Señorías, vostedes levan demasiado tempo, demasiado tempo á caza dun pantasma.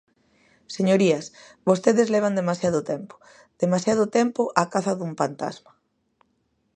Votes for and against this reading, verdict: 2, 0, accepted